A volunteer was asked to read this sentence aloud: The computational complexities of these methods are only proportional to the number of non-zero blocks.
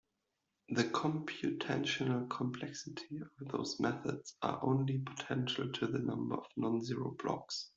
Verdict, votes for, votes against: rejected, 0, 2